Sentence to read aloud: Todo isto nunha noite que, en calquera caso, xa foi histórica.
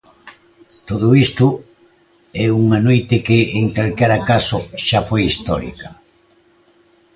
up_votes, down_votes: 0, 2